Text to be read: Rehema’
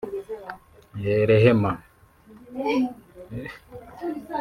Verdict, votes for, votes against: rejected, 1, 2